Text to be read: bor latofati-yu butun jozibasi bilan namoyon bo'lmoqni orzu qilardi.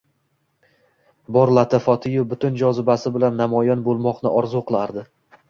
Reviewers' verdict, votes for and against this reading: rejected, 1, 2